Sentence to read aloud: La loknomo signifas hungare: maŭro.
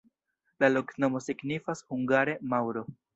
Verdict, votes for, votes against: rejected, 1, 2